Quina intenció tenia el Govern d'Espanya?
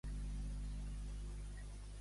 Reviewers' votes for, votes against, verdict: 0, 2, rejected